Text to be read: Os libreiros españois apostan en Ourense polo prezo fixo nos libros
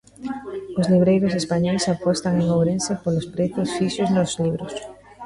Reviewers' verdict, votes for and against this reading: rejected, 0, 2